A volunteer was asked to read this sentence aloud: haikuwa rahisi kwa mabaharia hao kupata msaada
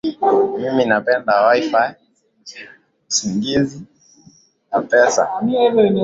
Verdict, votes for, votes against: rejected, 1, 9